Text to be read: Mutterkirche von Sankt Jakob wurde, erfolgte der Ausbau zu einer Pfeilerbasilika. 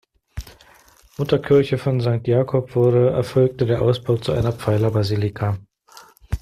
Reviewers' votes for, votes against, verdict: 2, 0, accepted